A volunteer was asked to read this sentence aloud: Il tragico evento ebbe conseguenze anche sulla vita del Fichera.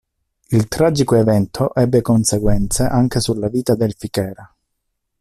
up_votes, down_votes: 2, 0